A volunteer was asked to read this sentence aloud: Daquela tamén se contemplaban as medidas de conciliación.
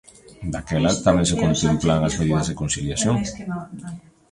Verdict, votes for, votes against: rejected, 0, 3